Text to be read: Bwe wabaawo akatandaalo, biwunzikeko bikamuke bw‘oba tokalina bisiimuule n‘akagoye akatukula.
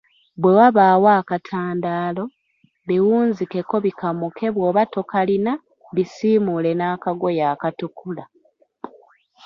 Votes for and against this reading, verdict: 0, 2, rejected